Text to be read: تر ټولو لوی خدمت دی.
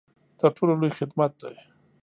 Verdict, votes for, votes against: accepted, 2, 0